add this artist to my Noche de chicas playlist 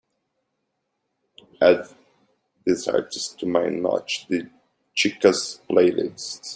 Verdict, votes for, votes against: rejected, 0, 2